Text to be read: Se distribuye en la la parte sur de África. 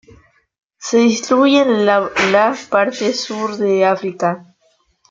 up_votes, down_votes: 2, 0